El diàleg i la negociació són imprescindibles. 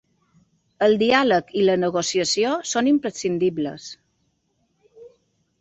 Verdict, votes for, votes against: accepted, 2, 0